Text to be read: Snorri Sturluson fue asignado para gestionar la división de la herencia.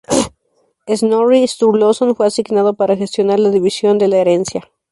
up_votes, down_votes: 2, 2